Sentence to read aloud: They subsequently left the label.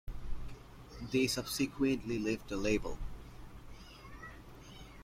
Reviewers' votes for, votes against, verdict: 0, 2, rejected